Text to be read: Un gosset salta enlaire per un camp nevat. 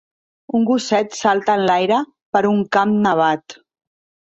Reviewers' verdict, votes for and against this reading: accepted, 2, 0